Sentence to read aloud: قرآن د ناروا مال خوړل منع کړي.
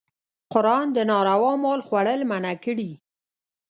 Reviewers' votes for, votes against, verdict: 1, 2, rejected